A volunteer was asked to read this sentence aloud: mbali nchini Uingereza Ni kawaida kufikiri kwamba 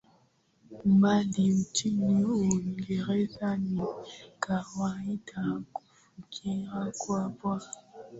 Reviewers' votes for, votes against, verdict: 1, 2, rejected